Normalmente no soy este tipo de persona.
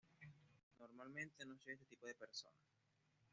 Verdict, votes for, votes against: rejected, 0, 2